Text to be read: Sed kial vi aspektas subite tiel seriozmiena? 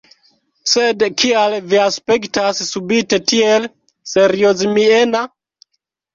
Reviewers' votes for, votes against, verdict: 2, 0, accepted